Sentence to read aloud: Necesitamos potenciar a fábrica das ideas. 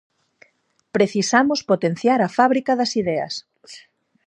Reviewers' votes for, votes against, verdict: 0, 4, rejected